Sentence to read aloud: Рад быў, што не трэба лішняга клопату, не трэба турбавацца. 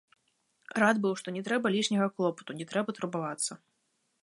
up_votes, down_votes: 1, 2